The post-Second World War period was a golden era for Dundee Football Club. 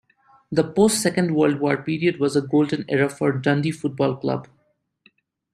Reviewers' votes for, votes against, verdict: 2, 1, accepted